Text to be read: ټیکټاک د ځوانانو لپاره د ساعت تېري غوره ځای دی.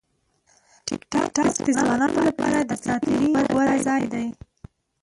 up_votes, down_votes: 0, 2